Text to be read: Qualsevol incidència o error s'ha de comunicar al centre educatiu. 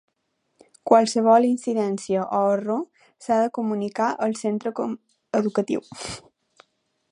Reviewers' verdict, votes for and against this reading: accepted, 2, 0